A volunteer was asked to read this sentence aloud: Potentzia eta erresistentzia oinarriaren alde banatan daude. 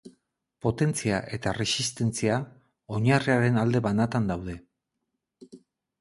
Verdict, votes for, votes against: accepted, 8, 0